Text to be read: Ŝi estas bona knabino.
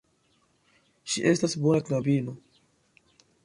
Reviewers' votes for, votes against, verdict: 2, 0, accepted